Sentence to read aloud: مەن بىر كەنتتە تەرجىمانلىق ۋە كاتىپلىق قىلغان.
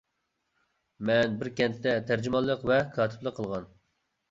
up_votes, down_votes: 2, 0